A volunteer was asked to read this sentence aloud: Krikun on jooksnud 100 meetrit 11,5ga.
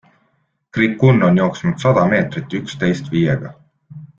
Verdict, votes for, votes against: rejected, 0, 2